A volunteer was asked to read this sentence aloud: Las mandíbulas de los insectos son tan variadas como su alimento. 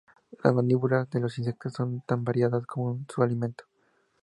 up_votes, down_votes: 0, 2